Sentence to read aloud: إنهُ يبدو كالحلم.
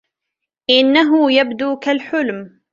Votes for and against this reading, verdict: 1, 2, rejected